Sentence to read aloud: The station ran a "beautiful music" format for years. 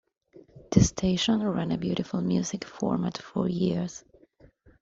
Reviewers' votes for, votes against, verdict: 2, 0, accepted